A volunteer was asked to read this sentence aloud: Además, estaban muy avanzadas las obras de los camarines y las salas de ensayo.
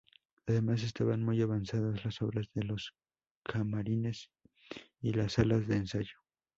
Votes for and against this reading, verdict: 0, 2, rejected